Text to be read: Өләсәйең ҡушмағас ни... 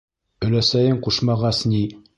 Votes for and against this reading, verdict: 2, 0, accepted